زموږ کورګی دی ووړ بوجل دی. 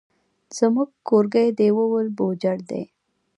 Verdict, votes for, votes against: rejected, 1, 2